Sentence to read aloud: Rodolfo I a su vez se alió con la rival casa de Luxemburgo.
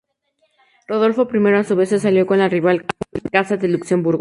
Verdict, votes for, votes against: rejected, 0, 2